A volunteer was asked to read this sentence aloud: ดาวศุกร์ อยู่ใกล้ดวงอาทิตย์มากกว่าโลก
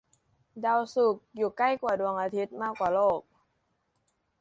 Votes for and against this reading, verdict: 0, 2, rejected